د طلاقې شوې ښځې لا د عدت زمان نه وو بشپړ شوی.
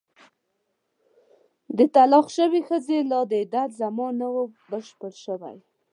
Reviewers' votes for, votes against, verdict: 1, 2, rejected